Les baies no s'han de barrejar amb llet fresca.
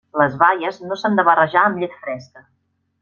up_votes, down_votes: 3, 0